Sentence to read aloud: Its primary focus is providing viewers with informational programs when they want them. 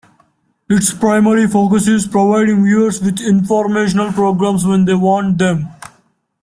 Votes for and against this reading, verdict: 2, 1, accepted